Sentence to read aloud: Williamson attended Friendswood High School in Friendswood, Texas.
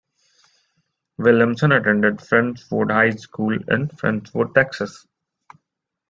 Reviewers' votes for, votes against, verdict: 3, 2, accepted